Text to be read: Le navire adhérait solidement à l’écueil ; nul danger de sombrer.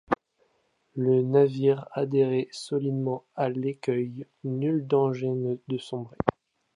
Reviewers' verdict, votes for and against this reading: accepted, 2, 0